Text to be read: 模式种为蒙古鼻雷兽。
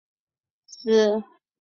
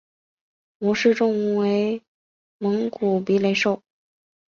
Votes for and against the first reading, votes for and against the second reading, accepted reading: 0, 2, 2, 0, second